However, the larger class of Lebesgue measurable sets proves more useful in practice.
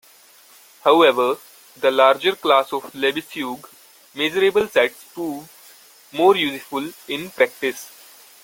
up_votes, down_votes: 2, 1